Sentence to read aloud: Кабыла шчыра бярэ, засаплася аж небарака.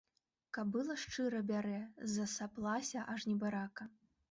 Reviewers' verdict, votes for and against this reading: accepted, 2, 0